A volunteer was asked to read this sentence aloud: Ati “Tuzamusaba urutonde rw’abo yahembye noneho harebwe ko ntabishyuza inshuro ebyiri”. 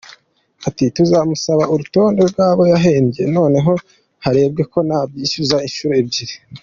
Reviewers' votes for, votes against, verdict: 2, 0, accepted